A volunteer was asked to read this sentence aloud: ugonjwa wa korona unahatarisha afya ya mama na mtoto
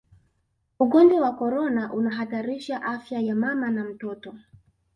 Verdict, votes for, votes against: accepted, 2, 0